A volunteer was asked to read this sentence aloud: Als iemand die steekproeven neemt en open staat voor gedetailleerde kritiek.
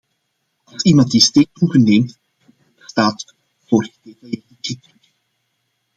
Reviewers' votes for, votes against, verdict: 0, 2, rejected